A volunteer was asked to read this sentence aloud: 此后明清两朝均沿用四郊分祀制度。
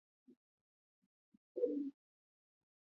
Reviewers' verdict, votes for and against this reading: rejected, 1, 2